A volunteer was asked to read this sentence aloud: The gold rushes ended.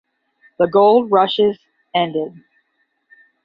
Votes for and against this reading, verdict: 10, 0, accepted